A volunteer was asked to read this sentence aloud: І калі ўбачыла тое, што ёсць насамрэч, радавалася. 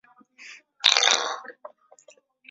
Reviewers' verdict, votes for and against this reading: rejected, 0, 2